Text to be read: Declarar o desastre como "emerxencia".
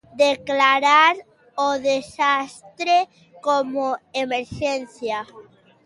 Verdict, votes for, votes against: accepted, 2, 0